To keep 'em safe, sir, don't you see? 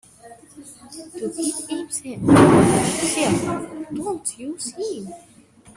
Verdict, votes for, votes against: rejected, 0, 2